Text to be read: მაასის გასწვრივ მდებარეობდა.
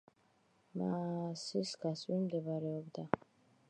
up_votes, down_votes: 2, 0